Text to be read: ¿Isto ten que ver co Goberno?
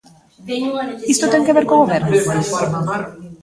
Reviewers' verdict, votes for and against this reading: rejected, 0, 2